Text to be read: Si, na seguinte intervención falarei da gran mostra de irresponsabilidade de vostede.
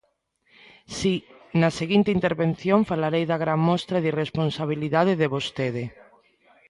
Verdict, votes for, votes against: accepted, 2, 0